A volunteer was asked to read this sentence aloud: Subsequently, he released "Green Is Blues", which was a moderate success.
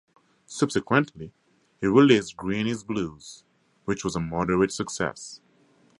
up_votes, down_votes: 4, 0